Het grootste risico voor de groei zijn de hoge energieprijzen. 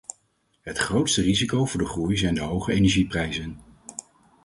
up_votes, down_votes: 4, 0